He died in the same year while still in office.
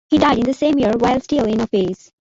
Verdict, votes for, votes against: accepted, 2, 1